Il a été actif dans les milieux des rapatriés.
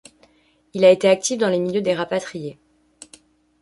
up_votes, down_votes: 2, 0